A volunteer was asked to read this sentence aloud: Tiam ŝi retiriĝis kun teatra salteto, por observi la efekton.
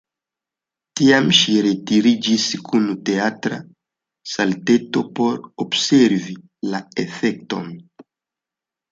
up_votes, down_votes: 2, 0